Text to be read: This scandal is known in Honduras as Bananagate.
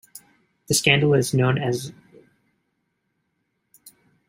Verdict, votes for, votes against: rejected, 0, 2